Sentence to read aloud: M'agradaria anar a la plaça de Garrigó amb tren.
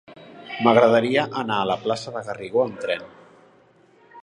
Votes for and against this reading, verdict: 3, 0, accepted